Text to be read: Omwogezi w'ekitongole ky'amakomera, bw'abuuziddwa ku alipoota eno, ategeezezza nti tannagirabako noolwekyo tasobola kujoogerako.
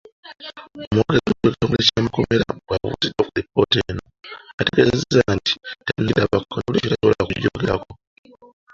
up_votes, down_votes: 0, 2